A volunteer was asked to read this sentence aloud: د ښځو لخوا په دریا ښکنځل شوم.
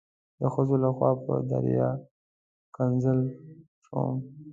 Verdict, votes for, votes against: accepted, 2, 1